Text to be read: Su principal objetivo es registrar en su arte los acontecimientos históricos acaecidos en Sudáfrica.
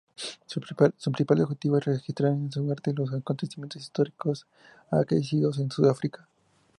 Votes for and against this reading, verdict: 0, 2, rejected